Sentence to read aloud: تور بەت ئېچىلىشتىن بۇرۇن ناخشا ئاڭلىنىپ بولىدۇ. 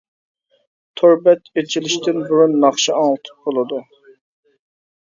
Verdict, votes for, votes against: rejected, 0, 2